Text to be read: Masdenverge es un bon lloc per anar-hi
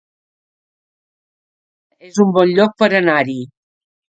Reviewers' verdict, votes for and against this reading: rejected, 0, 4